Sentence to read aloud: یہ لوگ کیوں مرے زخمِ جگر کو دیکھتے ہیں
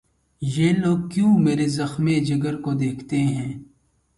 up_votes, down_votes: 0, 2